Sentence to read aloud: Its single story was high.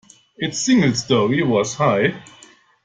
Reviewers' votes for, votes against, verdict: 2, 0, accepted